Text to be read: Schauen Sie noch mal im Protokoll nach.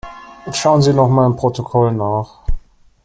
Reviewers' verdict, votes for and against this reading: accepted, 2, 0